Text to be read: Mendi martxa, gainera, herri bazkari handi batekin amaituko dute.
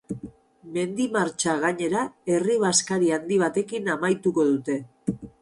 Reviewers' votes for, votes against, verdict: 0, 2, rejected